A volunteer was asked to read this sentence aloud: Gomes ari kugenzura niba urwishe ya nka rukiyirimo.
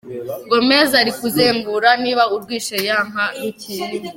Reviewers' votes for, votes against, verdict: 1, 2, rejected